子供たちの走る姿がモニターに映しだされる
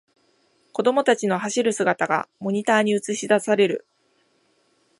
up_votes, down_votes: 1, 2